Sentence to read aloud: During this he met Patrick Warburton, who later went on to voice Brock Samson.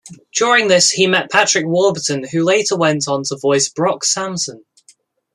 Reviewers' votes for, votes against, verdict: 1, 2, rejected